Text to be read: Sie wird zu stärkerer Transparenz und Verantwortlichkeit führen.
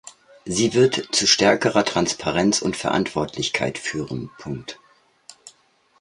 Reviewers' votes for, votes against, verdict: 0, 2, rejected